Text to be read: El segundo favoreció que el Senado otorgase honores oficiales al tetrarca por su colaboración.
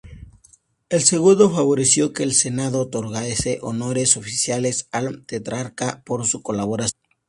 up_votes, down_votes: 0, 2